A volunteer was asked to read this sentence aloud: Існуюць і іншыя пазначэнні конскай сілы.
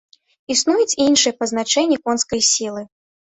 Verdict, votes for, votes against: rejected, 0, 2